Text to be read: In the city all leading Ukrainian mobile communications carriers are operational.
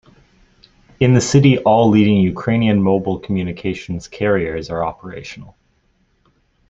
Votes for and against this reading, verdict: 2, 0, accepted